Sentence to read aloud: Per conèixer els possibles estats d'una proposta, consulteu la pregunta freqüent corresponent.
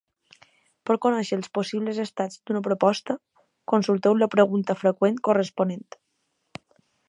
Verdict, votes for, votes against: accepted, 2, 0